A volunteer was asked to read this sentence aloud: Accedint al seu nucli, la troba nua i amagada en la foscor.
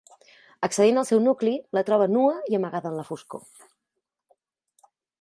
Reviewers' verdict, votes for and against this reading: accepted, 2, 0